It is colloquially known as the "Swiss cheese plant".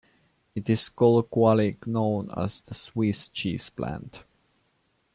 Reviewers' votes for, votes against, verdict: 2, 0, accepted